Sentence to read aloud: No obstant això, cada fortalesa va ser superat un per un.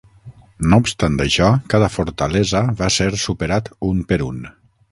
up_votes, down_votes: 3, 6